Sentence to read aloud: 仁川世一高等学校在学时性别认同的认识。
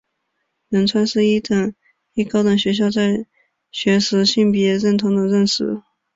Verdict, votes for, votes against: rejected, 1, 3